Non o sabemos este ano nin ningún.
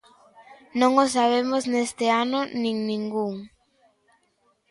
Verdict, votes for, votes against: rejected, 0, 2